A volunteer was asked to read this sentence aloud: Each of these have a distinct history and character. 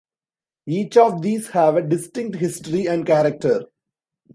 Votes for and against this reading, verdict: 2, 0, accepted